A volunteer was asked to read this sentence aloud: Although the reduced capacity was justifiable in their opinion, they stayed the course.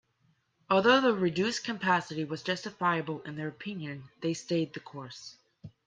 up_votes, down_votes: 2, 1